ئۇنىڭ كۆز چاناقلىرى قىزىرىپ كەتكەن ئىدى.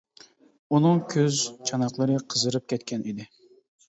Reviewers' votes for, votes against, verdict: 2, 0, accepted